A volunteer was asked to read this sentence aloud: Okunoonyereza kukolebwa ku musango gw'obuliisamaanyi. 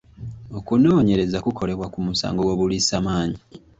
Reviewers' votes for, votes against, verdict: 2, 0, accepted